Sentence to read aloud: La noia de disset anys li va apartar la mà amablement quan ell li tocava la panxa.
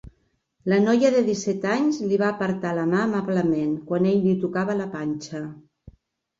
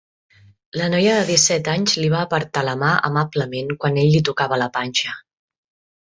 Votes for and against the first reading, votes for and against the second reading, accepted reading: 1, 2, 3, 0, second